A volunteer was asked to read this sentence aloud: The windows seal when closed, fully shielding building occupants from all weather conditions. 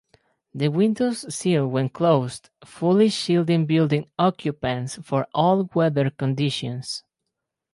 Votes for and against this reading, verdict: 2, 4, rejected